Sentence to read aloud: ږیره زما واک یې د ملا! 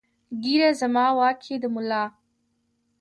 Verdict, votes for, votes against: rejected, 0, 2